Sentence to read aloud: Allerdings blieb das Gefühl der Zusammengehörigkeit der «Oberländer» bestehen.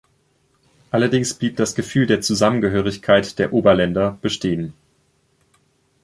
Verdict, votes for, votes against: accepted, 2, 0